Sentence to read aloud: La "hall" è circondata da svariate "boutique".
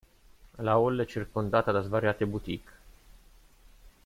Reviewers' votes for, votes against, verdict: 2, 1, accepted